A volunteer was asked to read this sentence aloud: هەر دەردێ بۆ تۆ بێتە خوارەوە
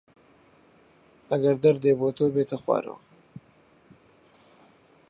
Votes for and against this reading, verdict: 0, 4, rejected